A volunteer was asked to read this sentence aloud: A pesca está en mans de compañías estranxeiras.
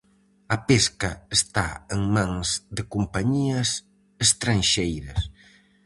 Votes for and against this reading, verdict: 4, 0, accepted